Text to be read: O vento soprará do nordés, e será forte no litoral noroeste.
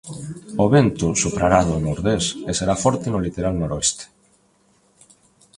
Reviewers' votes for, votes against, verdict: 2, 0, accepted